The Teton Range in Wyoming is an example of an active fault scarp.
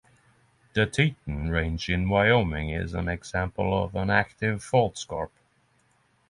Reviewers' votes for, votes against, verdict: 6, 0, accepted